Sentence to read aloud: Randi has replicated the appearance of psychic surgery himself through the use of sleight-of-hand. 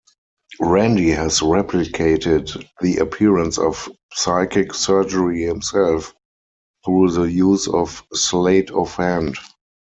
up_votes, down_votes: 4, 0